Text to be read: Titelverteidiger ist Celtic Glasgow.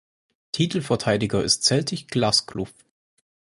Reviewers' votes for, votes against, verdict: 0, 4, rejected